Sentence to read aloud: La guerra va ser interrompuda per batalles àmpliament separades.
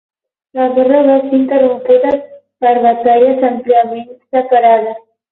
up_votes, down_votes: 12, 0